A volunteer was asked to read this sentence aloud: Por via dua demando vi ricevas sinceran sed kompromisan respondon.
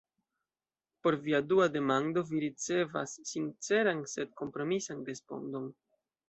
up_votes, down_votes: 2, 0